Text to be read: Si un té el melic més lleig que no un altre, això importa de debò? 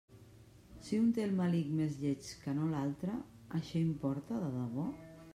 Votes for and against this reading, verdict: 0, 2, rejected